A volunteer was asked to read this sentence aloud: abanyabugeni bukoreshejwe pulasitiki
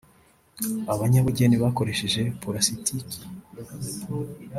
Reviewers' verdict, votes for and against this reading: rejected, 0, 2